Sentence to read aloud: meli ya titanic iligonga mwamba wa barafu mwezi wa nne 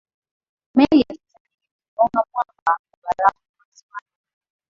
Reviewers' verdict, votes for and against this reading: rejected, 0, 2